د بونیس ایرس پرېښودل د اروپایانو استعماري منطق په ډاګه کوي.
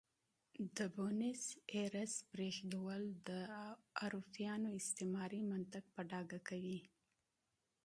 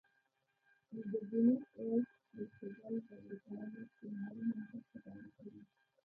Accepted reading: first